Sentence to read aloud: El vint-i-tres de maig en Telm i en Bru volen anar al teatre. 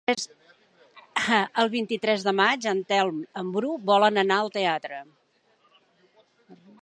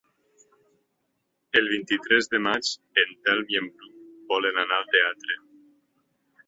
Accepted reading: second